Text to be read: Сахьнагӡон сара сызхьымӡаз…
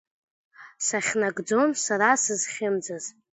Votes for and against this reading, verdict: 2, 0, accepted